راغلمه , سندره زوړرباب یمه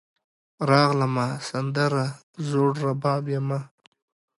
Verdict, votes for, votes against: accepted, 2, 0